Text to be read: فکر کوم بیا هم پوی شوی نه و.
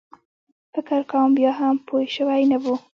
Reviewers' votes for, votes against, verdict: 1, 2, rejected